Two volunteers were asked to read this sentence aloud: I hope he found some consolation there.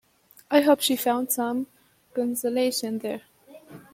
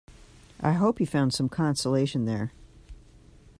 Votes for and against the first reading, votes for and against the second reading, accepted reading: 0, 2, 2, 0, second